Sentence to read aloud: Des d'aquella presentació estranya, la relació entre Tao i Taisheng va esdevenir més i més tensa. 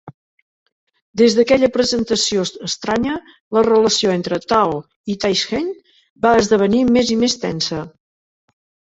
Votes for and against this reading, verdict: 2, 3, rejected